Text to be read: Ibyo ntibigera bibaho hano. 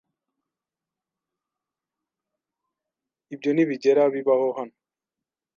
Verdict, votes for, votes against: accepted, 2, 0